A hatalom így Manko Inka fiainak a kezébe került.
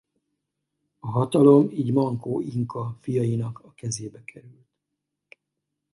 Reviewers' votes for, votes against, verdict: 2, 2, rejected